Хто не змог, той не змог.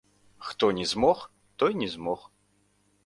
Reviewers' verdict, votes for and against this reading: rejected, 1, 2